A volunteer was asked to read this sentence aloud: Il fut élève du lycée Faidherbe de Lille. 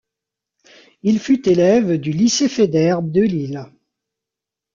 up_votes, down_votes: 2, 0